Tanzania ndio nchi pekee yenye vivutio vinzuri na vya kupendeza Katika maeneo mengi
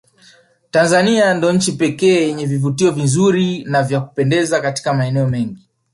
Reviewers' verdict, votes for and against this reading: accepted, 2, 1